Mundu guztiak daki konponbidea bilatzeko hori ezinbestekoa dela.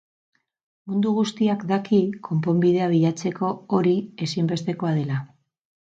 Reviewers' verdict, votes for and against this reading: accepted, 6, 0